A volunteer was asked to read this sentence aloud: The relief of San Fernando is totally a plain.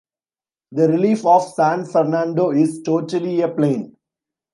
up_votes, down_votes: 2, 0